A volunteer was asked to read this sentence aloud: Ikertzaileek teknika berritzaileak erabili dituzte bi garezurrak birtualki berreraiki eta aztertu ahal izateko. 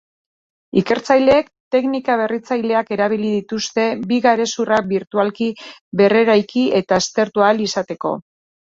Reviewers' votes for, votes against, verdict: 2, 0, accepted